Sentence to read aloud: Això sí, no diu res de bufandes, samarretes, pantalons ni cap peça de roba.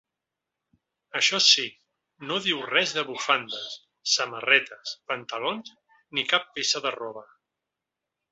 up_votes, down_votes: 3, 0